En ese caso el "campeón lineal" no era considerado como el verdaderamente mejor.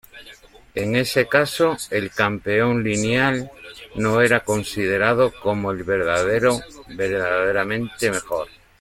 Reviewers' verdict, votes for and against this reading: rejected, 0, 2